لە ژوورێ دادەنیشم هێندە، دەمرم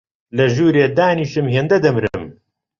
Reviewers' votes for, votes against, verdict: 1, 2, rejected